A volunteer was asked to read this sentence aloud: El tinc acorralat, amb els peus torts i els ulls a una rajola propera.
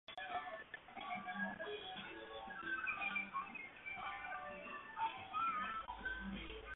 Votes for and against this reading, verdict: 1, 2, rejected